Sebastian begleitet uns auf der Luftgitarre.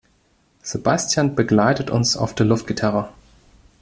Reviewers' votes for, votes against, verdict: 2, 0, accepted